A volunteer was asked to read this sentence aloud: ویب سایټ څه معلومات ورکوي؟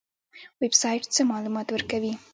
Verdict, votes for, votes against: rejected, 1, 2